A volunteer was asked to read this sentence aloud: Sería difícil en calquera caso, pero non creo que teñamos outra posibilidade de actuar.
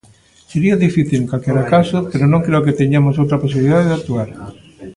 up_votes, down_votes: 2, 1